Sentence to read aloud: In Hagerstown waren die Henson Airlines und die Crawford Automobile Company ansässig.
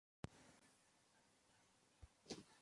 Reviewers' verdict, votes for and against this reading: rejected, 0, 2